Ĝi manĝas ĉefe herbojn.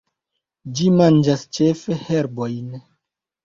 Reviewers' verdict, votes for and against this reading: rejected, 1, 2